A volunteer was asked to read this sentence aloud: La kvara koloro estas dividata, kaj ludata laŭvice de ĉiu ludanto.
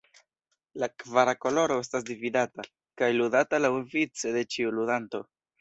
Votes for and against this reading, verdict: 1, 2, rejected